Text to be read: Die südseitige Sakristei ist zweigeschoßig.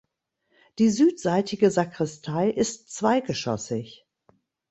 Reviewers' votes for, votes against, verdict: 2, 0, accepted